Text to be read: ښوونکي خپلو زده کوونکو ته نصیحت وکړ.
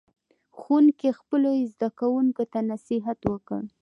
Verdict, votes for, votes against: accepted, 2, 0